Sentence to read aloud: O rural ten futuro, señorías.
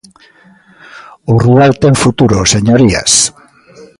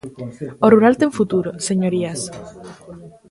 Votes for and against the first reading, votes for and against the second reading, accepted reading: 1, 2, 2, 0, second